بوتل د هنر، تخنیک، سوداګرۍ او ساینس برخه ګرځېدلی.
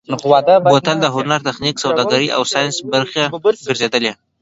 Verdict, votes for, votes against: rejected, 1, 2